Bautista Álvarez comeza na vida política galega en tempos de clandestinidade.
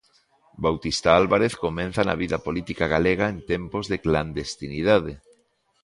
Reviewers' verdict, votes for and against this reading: rejected, 0, 2